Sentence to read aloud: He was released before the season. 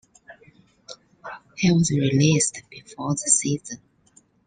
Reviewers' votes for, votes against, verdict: 2, 1, accepted